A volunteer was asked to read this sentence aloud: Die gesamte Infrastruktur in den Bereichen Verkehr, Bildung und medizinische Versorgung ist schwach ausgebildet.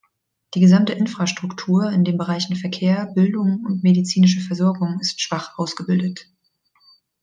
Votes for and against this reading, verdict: 2, 0, accepted